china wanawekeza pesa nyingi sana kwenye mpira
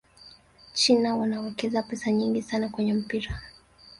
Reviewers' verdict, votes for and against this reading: rejected, 0, 2